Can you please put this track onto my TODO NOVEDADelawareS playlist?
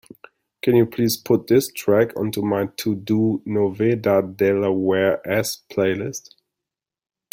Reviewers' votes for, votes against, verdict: 2, 0, accepted